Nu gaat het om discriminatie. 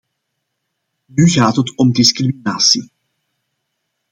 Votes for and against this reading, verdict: 2, 1, accepted